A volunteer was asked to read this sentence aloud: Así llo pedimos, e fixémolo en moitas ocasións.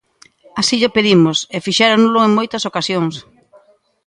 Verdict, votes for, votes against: rejected, 0, 3